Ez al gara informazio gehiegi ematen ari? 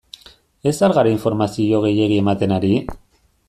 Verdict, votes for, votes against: accepted, 2, 0